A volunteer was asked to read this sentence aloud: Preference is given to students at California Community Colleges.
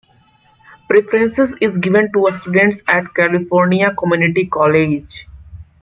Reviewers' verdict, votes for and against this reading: rejected, 0, 2